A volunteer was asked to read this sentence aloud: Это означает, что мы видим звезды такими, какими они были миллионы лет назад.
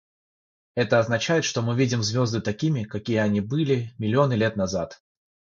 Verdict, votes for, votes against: rejected, 3, 6